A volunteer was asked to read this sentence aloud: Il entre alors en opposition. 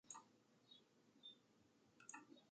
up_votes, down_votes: 0, 2